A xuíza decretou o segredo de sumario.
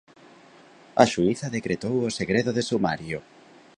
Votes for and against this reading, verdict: 2, 0, accepted